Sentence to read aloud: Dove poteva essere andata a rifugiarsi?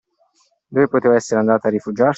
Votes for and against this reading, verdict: 1, 2, rejected